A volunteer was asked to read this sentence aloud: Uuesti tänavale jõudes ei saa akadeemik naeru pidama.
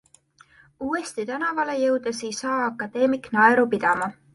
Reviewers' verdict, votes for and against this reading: accepted, 2, 0